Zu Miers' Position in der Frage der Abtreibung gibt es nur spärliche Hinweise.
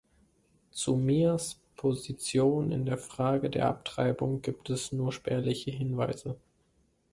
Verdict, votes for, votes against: accepted, 2, 0